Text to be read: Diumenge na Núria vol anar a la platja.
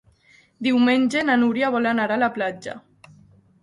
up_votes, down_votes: 4, 0